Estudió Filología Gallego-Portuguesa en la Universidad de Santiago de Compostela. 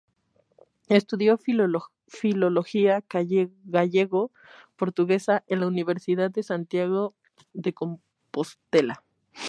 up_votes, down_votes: 0, 2